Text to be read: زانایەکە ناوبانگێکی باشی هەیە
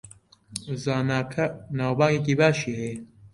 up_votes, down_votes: 0, 2